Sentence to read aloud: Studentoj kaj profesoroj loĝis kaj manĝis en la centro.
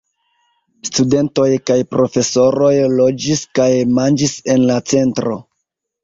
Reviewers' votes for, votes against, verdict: 0, 2, rejected